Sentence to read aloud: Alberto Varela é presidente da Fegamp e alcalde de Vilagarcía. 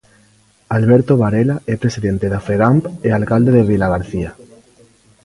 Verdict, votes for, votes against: accepted, 2, 0